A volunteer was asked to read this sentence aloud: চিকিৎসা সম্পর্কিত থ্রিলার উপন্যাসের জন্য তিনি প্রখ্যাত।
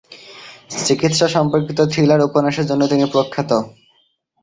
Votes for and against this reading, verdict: 2, 0, accepted